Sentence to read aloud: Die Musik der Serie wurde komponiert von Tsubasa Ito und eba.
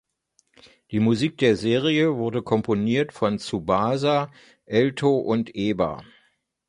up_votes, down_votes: 0, 2